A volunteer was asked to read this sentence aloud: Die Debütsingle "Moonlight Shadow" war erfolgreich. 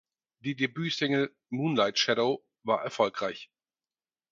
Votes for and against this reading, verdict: 4, 0, accepted